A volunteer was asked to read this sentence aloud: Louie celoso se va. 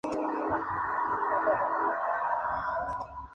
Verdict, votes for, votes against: rejected, 0, 2